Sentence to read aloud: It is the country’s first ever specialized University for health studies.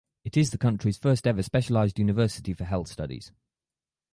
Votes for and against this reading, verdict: 2, 0, accepted